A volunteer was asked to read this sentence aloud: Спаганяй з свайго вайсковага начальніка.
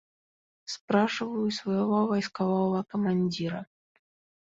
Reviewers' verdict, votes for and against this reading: rejected, 0, 2